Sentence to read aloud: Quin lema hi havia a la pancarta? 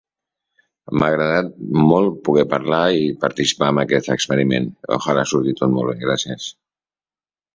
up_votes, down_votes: 0, 2